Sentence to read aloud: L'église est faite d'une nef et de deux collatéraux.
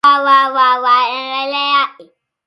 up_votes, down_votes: 0, 2